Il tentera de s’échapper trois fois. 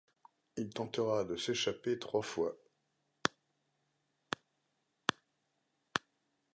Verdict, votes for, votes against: accepted, 2, 1